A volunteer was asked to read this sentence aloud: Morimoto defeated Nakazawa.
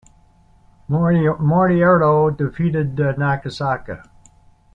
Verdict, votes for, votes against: rejected, 0, 2